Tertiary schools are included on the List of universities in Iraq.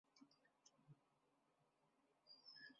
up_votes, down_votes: 0, 2